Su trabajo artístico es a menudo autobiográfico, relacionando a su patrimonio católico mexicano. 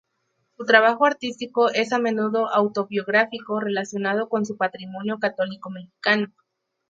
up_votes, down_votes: 0, 4